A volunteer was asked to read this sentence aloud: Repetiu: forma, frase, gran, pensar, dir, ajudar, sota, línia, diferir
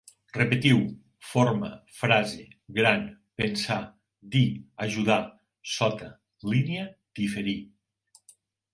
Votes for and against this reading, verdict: 2, 0, accepted